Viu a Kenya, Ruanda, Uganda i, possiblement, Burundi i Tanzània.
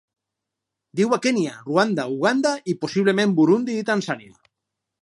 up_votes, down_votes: 4, 0